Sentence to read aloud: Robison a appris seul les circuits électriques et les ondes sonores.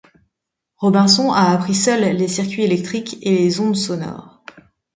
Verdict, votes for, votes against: rejected, 0, 2